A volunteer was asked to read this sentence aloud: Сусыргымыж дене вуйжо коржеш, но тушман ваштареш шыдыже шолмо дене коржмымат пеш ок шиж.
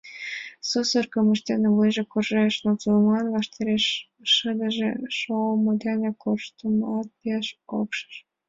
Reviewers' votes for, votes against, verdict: 0, 2, rejected